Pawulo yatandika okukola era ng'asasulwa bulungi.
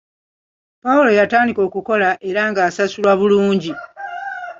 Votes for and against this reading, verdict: 2, 0, accepted